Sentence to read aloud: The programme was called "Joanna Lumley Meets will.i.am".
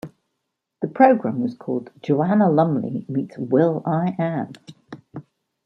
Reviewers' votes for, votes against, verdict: 1, 2, rejected